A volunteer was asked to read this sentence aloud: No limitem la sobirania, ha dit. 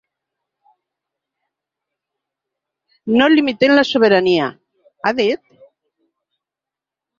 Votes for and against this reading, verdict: 0, 3, rejected